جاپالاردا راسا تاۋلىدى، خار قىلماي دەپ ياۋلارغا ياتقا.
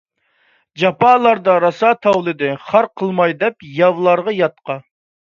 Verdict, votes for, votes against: accepted, 2, 0